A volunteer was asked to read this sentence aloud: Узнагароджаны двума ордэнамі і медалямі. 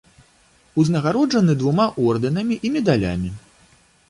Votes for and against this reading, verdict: 2, 0, accepted